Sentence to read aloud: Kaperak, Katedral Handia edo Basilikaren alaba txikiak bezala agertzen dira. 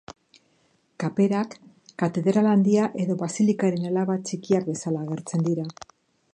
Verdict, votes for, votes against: accepted, 2, 0